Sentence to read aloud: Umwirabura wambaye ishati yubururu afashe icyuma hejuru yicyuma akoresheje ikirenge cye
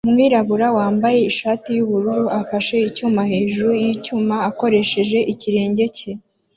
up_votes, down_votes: 2, 0